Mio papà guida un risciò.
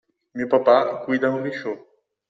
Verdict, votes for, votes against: accepted, 2, 0